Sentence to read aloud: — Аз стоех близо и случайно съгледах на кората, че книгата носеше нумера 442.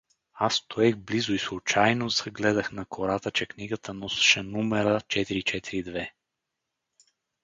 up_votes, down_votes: 0, 2